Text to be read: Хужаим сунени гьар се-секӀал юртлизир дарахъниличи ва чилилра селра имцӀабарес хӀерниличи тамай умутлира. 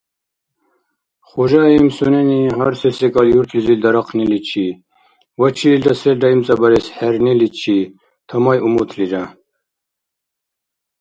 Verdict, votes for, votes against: accepted, 2, 1